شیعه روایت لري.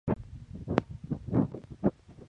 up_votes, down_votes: 0, 2